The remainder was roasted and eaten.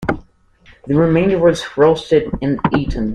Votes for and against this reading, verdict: 2, 0, accepted